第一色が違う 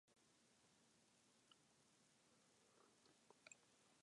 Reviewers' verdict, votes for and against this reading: rejected, 0, 2